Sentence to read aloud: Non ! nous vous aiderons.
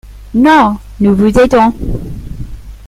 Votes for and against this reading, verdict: 0, 2, rejected